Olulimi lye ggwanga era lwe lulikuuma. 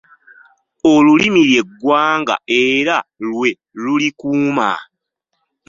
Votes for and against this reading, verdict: 2, 0, accepted